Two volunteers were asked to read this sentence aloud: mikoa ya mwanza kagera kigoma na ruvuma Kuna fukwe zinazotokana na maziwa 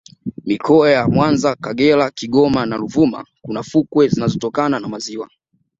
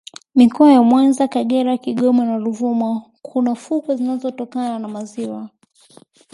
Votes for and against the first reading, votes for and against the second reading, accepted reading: 1, 2, 2, 0, second